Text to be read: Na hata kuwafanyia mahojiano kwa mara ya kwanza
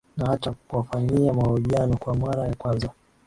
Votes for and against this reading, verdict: 4, 0, accepted